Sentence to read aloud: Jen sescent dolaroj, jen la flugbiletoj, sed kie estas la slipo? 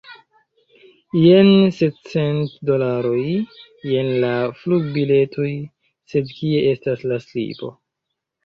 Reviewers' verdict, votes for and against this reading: rejected, 1, 2